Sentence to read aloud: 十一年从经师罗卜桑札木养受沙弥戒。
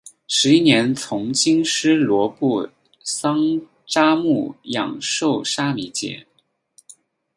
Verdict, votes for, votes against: accepted, 4, 0